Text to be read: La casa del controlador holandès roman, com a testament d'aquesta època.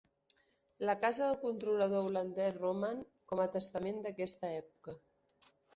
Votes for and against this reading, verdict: 2, 1, accepted